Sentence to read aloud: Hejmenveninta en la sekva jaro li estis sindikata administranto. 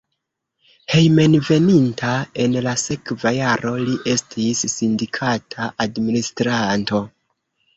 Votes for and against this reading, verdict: 0, 2, rejected